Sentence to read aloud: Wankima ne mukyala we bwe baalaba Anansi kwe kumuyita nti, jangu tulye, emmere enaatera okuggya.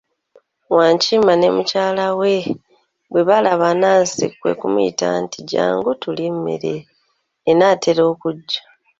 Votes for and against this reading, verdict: 1, 2, rejected